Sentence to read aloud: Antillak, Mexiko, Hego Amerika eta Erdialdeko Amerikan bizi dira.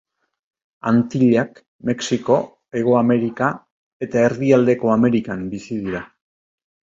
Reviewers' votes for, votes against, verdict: 2, 0, accepted